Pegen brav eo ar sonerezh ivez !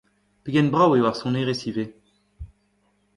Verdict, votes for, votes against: rejected, 1, 2